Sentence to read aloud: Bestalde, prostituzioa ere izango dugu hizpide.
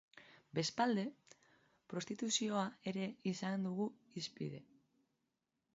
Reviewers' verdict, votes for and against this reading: rejected, 0, 2